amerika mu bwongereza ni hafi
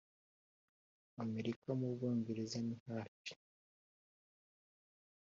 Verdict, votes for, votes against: accepted, 2, 0